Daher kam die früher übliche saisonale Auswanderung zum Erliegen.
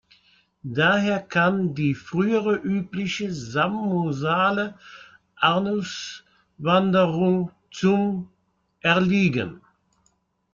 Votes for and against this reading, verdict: 0, 2, rejected